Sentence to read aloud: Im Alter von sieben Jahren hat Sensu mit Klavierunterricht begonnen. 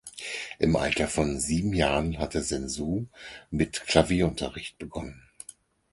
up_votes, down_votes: 0, 4